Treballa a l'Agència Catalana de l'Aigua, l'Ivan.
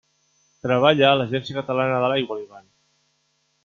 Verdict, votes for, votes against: accepted, 2, 0